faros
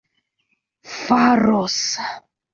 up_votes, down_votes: 2, 0